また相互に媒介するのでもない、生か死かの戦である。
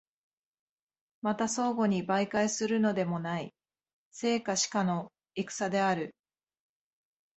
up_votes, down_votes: 2, 0